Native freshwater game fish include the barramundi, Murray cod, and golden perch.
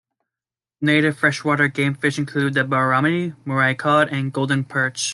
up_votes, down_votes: 3, 2